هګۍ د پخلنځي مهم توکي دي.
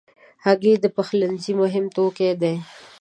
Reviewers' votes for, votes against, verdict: 2, 0, accepted